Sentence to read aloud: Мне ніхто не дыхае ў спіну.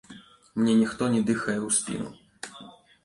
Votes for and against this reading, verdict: 2, 0, accepted